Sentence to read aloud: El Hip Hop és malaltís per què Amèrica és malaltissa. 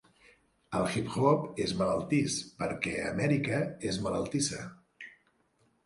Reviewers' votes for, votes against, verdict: 2, 0, accepted